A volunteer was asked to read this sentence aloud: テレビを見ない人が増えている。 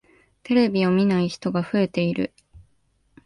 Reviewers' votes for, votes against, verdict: 1, 2, rejected